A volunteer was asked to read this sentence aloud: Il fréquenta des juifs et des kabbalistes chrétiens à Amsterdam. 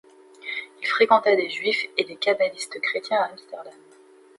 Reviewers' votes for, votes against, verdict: 1, 2, rejected